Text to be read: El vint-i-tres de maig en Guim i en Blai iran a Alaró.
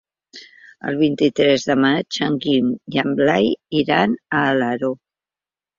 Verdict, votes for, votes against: accepted, 3, 0